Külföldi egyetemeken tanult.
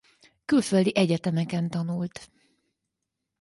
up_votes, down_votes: 4, 0